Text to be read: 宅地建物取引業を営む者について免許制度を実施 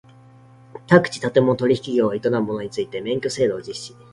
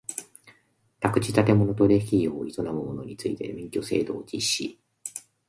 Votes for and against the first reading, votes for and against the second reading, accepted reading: 2, 0, 0, 2, first